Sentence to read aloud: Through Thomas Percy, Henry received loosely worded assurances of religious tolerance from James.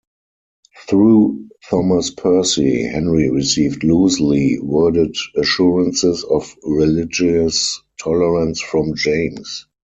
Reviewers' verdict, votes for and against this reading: rejected, 2, 4